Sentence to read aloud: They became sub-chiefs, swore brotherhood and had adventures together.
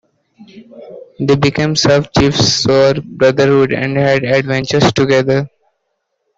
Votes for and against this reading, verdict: 2, 0, accepted